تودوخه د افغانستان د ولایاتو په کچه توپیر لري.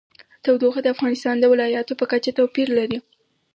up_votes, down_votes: 4, 0